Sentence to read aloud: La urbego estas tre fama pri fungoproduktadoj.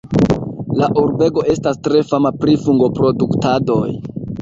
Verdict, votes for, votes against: accepted, 2, 1